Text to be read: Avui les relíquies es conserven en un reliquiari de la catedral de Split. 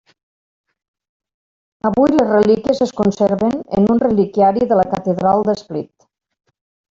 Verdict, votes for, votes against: rejected, 1, 2